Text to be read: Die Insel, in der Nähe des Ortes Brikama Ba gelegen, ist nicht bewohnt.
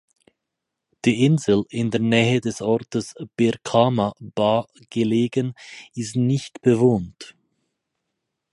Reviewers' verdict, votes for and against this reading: rejected, 2, 4